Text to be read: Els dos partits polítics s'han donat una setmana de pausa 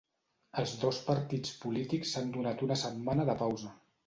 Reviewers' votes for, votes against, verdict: 2, 0, accepted